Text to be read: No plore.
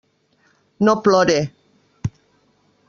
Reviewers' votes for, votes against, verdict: 3, 0, accepted